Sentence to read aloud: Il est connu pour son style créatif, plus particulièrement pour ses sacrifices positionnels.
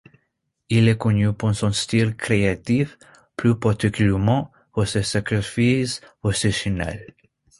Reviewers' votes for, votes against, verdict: 2, 0, accepted